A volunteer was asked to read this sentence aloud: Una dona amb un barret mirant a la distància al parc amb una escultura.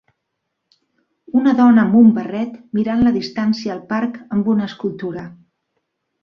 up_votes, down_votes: 0, 2